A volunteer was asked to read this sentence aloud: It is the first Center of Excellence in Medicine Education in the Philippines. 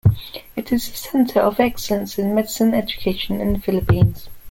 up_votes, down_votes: 0, 2